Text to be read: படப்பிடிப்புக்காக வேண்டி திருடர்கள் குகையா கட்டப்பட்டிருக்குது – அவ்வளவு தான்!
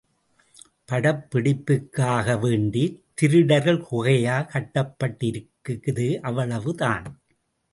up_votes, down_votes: 2, 0